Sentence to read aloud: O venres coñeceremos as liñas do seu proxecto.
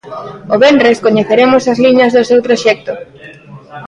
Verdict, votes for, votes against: accepted, 2, 0